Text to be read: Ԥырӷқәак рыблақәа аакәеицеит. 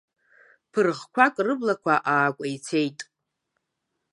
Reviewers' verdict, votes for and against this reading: accepted, 2, 1